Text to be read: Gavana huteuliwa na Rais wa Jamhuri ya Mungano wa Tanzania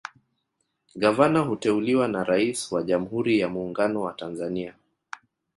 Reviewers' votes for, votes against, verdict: 1, 2, rejected